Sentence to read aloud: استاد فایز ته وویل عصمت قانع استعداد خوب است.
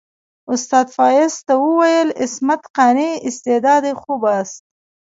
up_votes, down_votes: 0, 2